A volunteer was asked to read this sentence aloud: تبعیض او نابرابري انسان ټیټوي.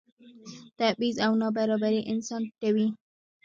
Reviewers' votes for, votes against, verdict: 2, 1, accepted